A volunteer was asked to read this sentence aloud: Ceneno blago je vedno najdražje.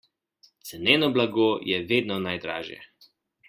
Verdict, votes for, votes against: accepted, 2, 0